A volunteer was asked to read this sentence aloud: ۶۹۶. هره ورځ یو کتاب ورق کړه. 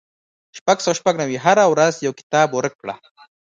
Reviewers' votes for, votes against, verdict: 0, 2, rejected